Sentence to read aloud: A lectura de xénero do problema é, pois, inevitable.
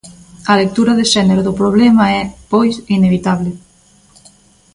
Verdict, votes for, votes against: accepted, 2, 0